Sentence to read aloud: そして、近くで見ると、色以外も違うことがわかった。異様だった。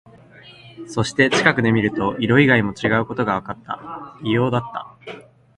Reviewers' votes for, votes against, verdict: 2, 0, accepted